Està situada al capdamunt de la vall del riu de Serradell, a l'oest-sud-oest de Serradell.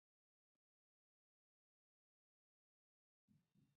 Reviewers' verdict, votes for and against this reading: rejected, 0, 2